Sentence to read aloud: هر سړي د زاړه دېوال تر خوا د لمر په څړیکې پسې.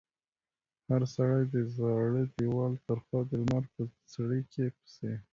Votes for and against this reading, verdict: 0, 2, rejected